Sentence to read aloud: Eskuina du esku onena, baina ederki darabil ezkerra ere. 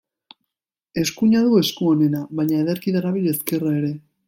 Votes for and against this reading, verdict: 2, 1, accepted